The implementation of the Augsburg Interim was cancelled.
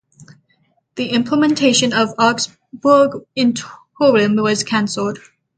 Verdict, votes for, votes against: rejected, 0, 3